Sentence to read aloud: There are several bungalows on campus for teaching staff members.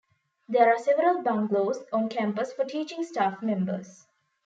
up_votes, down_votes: 2, 1